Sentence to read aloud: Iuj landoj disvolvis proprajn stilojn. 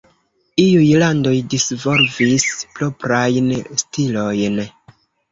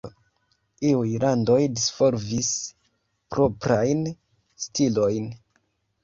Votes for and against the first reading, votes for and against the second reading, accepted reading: 1, 2, 2, 0, second